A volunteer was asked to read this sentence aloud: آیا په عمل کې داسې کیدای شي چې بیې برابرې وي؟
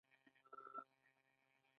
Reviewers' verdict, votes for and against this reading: rejected, 1, 2